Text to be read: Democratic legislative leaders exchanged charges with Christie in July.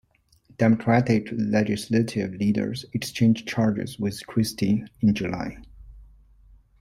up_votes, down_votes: 2, 0